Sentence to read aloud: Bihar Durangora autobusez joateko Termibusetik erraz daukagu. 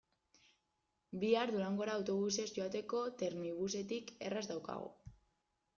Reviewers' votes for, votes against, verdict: 2, 0, accepted